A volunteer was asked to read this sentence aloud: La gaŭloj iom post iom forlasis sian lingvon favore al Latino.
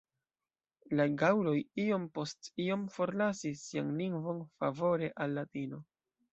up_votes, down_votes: 2, 0